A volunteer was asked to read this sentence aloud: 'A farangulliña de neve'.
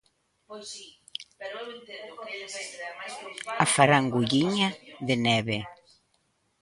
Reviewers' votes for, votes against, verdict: 0, 2, rejected